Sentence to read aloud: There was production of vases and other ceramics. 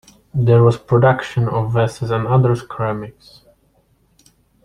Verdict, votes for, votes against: rejected, 1, 3